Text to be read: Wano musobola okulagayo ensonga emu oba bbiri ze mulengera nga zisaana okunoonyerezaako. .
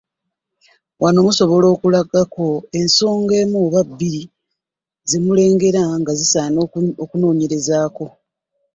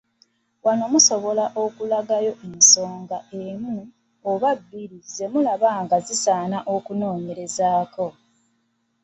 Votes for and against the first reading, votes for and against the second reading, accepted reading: 2, 1, 0, 2, first